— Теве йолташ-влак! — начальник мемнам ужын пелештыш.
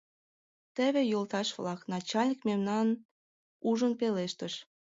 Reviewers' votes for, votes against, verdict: 2, 1, accepted